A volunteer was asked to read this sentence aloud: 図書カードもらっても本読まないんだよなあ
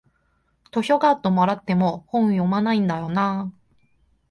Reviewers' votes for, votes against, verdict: 2, 1, accepted